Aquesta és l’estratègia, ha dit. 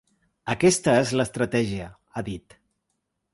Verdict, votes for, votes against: accepted, 2, 0